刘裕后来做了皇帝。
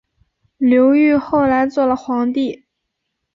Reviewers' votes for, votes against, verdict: 2, 0, accepted